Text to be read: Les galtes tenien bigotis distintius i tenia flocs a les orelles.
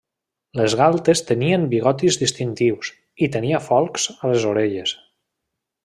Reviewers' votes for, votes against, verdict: 0, 2, rejected